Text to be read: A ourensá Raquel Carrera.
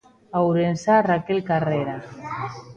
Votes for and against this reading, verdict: 1, 2, rejected